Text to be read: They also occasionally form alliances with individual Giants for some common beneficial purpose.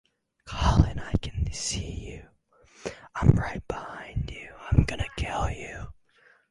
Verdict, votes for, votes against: rejected, 0, 4